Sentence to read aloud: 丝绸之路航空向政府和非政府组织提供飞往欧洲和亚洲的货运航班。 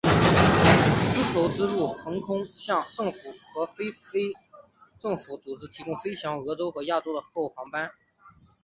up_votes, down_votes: 2, 2